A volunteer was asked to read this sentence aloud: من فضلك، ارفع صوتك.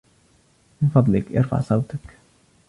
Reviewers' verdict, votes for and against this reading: rejected, 1, 2